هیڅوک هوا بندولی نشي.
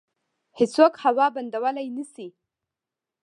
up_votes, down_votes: 1, 2